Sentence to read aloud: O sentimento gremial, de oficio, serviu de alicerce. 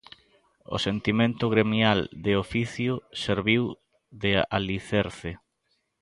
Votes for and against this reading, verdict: 2, 0, accepted